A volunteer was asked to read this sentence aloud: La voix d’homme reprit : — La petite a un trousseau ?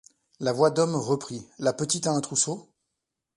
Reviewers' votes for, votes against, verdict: 2, 0, accepted